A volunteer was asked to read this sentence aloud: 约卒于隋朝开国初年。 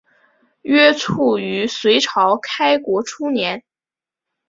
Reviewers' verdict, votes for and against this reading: accepted, 2, 0